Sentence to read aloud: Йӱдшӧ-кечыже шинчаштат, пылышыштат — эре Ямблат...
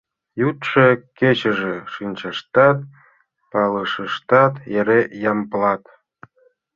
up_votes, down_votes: 2, 1